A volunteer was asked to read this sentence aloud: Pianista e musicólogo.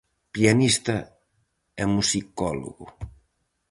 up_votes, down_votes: 4, 0